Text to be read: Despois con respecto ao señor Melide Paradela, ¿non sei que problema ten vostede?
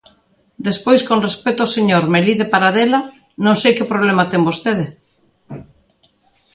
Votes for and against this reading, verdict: 2, 0, accepted